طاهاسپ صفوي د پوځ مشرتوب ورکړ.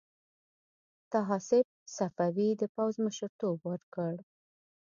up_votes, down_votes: 2, 0